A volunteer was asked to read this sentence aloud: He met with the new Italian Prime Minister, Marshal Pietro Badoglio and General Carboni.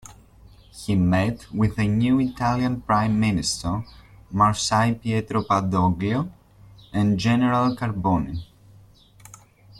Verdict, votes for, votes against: accepted, 2, 0